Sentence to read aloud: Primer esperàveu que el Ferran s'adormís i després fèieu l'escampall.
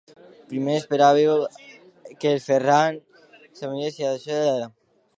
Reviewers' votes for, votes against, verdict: 0, 2, rejected